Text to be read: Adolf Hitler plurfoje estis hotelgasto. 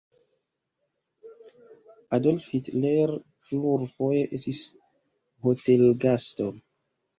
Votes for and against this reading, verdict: 0, 2, rejected